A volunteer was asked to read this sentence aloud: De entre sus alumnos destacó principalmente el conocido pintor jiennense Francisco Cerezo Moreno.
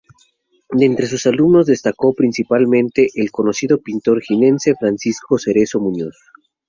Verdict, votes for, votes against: rejected, 0, 2